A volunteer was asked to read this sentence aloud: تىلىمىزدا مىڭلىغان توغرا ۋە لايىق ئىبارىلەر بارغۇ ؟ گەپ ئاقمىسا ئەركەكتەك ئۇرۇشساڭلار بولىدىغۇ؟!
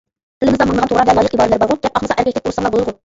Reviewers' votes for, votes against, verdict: 0, 2, rejected